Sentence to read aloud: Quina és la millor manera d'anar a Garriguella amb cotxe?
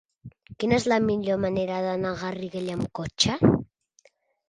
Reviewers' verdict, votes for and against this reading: accepted, 3, 0